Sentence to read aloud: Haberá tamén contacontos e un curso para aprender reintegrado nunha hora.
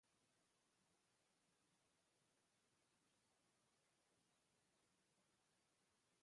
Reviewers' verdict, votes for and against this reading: rejected, 0, 2